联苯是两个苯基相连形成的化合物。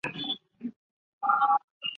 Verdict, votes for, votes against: rejected, 0, 3